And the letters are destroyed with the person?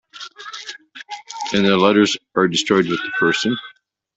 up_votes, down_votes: 0, 2